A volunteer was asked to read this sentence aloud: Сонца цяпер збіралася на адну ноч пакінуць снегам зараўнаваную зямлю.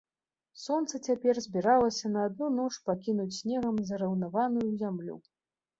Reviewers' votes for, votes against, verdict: 2, 0, accepted